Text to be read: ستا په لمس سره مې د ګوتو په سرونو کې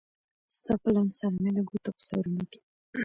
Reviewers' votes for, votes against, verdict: 2, 1, accepted